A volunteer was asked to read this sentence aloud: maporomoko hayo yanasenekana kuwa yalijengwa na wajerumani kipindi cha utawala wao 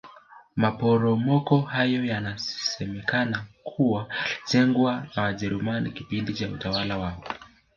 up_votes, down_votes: 0, 2